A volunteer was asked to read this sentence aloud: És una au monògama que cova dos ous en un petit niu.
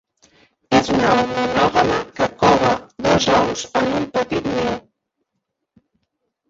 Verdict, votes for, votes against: rejected, 0, 2